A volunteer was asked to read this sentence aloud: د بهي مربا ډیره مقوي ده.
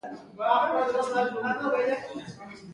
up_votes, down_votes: 2, 0